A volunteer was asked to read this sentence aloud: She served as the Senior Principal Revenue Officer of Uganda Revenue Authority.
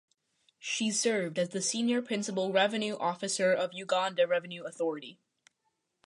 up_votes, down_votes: 2, 0